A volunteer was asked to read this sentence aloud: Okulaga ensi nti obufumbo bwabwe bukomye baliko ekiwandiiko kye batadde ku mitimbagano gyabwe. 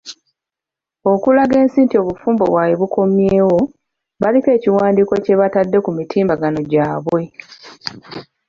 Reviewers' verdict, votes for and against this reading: rejected, 0, 2